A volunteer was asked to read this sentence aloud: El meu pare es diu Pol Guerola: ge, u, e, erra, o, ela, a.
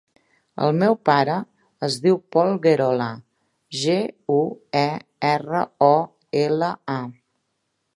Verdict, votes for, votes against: accepted, 3, 0